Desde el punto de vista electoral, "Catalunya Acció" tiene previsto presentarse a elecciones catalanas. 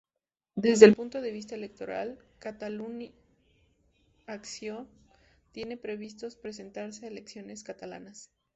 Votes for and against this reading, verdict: 2, 0, accepted